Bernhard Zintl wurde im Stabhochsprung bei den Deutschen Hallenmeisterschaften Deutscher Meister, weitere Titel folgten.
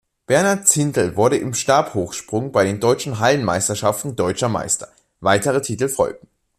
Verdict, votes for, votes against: rejected, 0, 2